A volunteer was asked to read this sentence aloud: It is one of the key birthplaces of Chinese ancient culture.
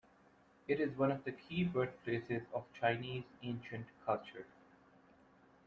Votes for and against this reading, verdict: 2, 0, accepted